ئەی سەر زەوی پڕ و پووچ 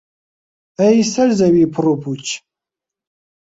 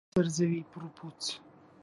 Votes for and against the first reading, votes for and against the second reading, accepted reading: 2, 0, 0, 2, first